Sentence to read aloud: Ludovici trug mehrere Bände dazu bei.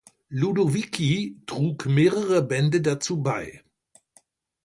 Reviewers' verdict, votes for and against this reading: accepted, 2, 0